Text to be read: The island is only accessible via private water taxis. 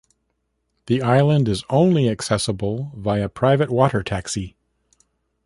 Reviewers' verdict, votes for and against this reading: rejected, 1, 2